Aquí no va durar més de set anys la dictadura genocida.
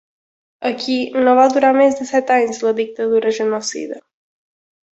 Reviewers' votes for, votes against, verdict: 4, 0, accepted